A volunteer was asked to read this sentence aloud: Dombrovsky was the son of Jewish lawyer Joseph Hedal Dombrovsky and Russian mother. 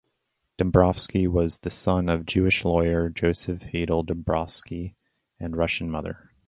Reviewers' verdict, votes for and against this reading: rejected, 0, 2